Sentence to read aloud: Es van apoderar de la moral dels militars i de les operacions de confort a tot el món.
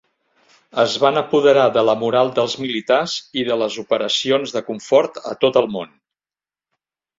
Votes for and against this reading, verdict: 1, 2, rejected